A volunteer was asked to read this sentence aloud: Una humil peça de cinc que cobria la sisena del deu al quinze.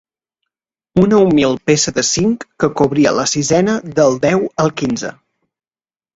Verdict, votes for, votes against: accepted, 2, 0